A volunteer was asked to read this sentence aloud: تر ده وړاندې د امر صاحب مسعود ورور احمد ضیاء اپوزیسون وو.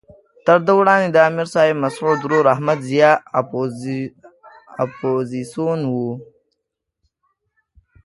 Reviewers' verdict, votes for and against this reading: rejected, 0, 2